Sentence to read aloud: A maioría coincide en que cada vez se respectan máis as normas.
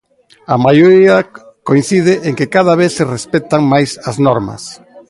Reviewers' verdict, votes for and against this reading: accepted, 2, 0